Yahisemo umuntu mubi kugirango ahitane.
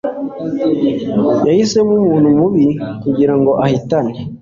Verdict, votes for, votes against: accepted, 2, 0